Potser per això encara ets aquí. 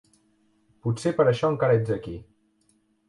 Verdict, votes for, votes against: accepted, 2, 0